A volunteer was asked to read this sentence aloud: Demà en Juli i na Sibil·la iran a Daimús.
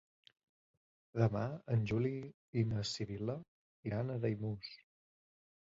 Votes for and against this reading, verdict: 2, 1, accepted